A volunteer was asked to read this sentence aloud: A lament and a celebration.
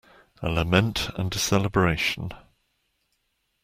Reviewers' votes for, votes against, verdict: 2, 0, accepted